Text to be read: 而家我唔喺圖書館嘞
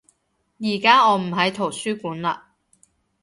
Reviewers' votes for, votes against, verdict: 2, 0, accepted